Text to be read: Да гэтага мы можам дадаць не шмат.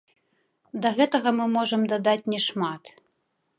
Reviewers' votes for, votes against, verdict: 1, 2, rejected